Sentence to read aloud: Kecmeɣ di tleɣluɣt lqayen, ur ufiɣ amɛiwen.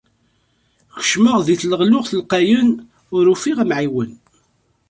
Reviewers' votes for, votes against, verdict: 2, 0, accepted